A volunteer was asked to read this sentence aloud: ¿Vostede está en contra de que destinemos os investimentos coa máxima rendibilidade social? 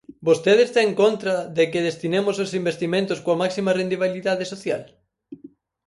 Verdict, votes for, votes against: rejected, 0, 6